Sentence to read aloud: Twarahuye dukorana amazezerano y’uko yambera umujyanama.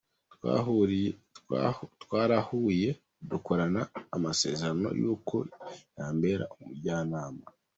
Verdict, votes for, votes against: rejected, 1, 2